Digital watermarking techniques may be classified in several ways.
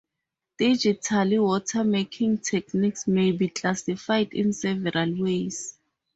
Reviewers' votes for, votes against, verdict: 0, 2, rejected